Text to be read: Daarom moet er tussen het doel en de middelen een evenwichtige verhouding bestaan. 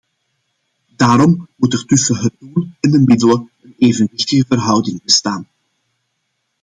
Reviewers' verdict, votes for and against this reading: rejected, 1, 2